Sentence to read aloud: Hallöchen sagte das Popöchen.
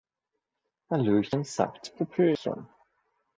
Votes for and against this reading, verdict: 0, 2, rejected